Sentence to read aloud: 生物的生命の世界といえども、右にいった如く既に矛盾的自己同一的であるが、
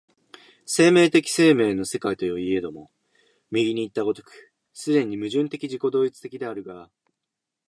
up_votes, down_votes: 0, 2